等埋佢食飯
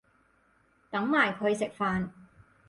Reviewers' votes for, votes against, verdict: 6, 0, accepted